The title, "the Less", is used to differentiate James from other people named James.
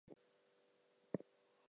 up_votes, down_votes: 0, 4